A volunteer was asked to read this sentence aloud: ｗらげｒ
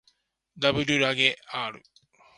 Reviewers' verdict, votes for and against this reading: rejected, 0, 2